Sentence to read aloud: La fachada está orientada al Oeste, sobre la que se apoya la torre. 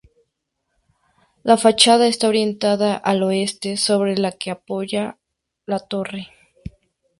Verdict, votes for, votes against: rejected, 0, 2